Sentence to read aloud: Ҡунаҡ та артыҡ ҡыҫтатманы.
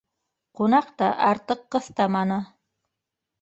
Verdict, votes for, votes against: rejected, 0, 2